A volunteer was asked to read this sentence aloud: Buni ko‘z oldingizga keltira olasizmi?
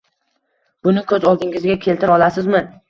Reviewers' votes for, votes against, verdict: 1, 2, rejected